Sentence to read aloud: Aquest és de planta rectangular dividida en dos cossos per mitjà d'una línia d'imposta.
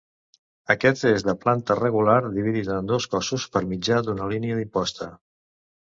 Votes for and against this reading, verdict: 0, 2, rejected